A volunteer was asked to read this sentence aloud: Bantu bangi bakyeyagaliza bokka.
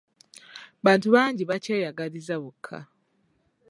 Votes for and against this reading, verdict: 2, 0, accepted